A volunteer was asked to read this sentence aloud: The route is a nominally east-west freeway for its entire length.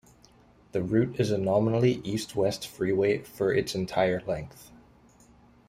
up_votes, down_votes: 2, 0